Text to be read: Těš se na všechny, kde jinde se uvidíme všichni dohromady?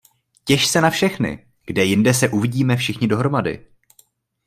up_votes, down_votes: 2, 0